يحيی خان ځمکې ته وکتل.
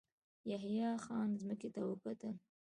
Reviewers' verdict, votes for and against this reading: accepted, 2, 1